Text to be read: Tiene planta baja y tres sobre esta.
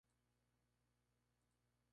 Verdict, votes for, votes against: rejected, 0, 4